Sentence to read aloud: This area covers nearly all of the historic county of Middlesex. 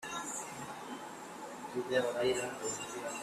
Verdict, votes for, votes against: rejected, 0, 2